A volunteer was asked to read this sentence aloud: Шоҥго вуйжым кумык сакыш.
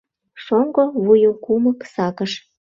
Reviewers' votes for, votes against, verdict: 0, 2, rejected